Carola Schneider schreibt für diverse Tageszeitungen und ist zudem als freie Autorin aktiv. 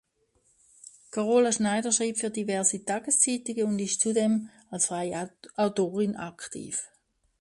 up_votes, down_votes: 0, 2